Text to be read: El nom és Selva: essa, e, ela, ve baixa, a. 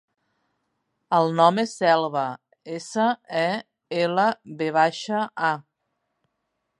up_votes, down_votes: 3, 0